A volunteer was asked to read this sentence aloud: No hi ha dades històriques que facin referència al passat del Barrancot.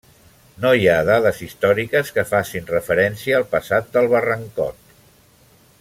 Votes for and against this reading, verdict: 3, 0, accepted